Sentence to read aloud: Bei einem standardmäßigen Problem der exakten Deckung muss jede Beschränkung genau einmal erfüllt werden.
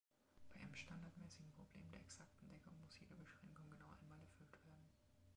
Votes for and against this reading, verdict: 1, 2, rejected